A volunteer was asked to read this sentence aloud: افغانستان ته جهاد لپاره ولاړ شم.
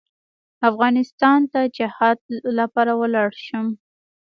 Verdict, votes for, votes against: accepted, 2, 0